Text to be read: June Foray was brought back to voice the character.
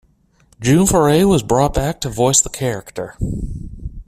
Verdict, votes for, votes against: accepted, 2, 0